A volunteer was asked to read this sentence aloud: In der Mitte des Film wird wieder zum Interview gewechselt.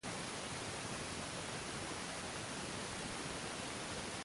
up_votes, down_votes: 0, 2